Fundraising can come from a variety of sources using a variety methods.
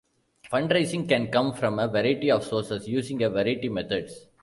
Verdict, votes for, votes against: rejected, 0, 2